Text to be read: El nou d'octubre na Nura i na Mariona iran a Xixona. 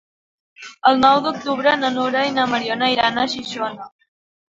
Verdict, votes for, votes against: accepted, 2, 1